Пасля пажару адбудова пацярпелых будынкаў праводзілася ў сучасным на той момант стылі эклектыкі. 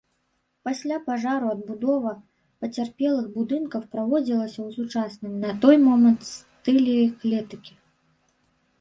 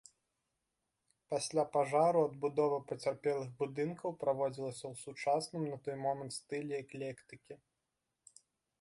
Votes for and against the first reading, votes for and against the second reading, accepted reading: 0, 2, 2, 0, second